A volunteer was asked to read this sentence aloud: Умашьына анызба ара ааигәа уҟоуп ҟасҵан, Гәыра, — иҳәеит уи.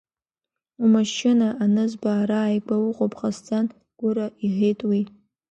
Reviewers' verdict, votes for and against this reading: accepted, 2, 0